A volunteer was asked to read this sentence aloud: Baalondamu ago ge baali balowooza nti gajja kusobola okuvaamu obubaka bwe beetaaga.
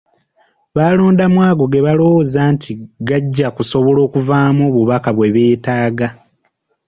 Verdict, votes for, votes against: rejected, 2, 3